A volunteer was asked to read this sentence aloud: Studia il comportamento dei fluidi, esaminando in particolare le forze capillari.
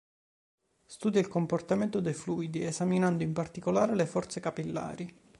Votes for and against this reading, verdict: 2, 0, accepted